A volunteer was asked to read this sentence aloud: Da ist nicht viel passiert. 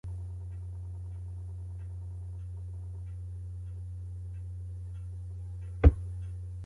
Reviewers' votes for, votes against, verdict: 0, 2, rejected